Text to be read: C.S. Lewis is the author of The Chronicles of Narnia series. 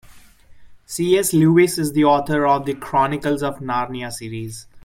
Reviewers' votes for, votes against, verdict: 2, 0, accepted